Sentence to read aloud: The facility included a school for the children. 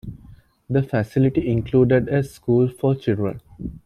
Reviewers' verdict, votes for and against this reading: rejected, 1, 2